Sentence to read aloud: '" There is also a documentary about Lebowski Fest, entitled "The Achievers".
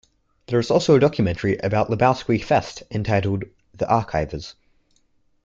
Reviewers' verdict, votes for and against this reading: rejected, 0, 2